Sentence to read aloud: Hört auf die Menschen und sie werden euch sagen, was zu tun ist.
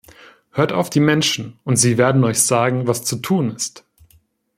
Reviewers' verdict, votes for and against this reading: accepted, 2, 0